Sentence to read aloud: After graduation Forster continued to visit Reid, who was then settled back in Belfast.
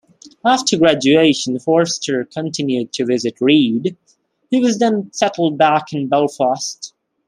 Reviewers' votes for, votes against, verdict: 2, 0, accepted